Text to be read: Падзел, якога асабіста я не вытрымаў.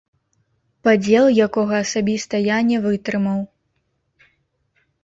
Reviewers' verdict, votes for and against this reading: rejected, 0, 3